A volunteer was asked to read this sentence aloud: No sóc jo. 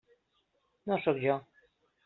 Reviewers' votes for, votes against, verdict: 3, 0, accepted